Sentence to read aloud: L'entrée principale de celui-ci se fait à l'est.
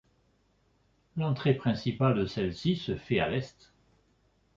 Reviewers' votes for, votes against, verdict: 2, 0, accepted